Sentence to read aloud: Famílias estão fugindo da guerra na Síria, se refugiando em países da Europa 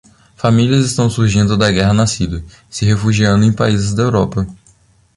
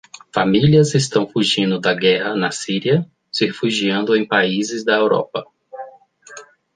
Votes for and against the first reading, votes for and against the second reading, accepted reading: 1, 2, 2, 0, second